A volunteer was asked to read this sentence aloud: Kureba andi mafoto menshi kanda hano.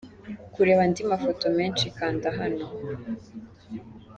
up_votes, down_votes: 2, 0